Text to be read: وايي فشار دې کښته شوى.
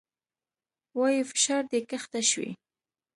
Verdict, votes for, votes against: accepted, 2, 0